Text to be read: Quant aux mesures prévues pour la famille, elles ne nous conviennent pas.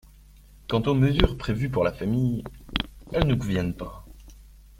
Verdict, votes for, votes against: rejected, 1, 2